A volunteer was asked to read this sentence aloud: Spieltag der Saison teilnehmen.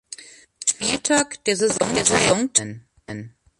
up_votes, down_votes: 0, 2